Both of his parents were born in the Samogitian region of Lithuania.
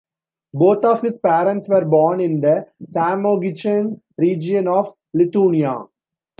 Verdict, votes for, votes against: rejected, 0, 2